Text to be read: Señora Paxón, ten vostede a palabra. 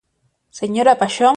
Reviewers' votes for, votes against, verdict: 0, 2, rejected